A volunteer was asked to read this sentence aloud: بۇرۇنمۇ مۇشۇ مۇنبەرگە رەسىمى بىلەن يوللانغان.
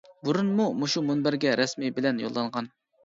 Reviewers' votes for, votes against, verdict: 1, 2, rejected